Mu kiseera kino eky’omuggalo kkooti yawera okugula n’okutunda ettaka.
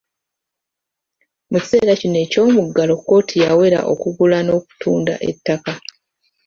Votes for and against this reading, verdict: 2, 0, accepted